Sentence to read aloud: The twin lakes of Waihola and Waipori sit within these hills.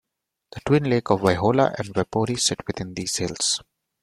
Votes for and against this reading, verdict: 1, 2, rejected